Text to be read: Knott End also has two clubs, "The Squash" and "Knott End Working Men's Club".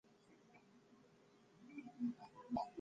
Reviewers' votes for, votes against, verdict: 0, 2, rejected